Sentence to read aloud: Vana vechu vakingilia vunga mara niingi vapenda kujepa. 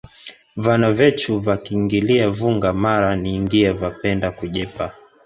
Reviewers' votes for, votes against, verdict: 1, 2, rejected